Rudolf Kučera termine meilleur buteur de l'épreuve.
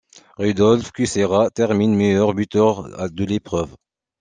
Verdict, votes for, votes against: accepted, 2, 1